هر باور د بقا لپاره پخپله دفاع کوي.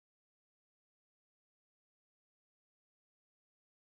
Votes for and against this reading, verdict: 1, 2, rejected